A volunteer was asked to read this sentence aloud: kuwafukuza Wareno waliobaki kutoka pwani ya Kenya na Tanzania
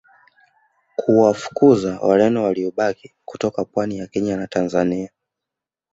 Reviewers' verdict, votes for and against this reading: accepted, 2, 0